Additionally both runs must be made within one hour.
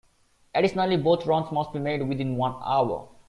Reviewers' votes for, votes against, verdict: 2, 0, accepted